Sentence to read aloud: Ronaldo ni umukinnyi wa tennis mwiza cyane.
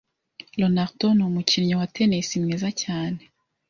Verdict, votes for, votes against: accepted, 2, 0